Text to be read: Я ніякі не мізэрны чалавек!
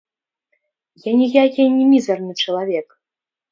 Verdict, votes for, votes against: rejected, 1, 2